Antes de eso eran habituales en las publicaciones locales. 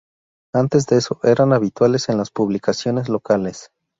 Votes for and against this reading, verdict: 2, 0, accepted